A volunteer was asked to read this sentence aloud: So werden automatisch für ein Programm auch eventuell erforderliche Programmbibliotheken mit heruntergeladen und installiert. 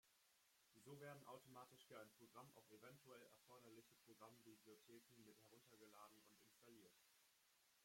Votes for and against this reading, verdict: 0, 2, rejected